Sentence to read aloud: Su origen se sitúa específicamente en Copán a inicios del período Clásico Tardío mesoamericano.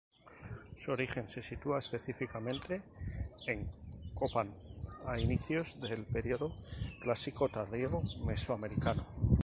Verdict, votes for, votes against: accepted, 4, 2